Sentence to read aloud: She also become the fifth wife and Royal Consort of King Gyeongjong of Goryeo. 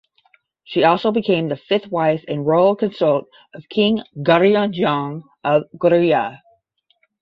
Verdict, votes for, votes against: accepted, 10, 0